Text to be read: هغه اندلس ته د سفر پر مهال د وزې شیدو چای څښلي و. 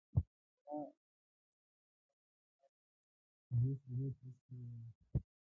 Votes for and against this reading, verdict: 0, 2, rejected